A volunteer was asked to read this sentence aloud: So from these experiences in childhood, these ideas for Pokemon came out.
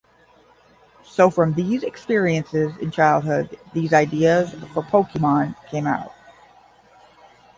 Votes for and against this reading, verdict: 20, 5, accepted